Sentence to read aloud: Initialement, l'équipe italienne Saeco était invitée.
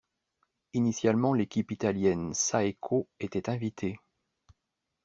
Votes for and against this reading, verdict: 2, 0, accepted